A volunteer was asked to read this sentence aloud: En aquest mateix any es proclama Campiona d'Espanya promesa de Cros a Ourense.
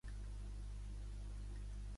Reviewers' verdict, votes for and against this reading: rejected, 0, 2